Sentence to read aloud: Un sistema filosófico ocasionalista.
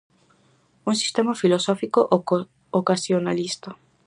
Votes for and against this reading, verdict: 0, 4, rejected